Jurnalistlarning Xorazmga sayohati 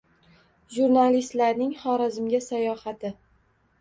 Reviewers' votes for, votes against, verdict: 2, 0, accepted